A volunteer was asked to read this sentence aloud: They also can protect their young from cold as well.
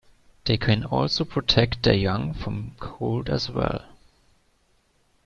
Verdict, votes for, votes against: rejected, 0, 2